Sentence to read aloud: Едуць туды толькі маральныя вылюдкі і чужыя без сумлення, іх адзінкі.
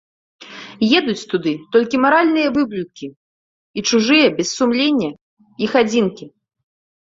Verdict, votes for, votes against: rejected, 0, 2